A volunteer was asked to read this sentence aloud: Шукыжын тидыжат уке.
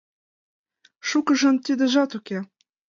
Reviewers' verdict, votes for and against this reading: accepted, 2, 1